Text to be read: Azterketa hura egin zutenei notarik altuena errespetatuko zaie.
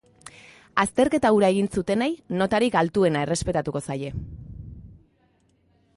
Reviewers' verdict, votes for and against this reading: accepted, 2, 0